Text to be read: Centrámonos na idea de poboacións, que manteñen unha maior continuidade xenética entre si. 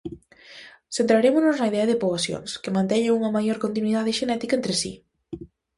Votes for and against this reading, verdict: 0, 2, rejected